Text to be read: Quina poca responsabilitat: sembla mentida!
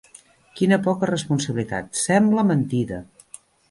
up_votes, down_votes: 1, 3